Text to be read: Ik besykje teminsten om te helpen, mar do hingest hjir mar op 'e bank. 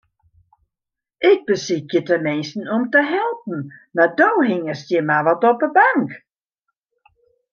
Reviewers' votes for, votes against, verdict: 1, 2, rejected